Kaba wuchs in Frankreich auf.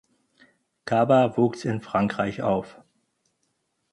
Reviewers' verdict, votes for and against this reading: accepted, 4, 0